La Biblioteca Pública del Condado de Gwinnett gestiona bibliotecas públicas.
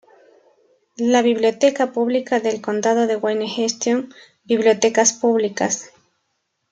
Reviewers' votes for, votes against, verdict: 1, 2, rejected